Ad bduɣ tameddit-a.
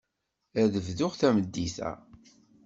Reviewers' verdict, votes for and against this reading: accepted, 2, 0